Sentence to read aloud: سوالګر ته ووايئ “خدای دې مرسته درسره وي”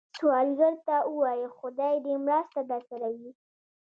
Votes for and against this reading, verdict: 0, 2, rejected